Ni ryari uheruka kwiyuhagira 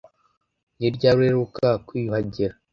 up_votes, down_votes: 2, 0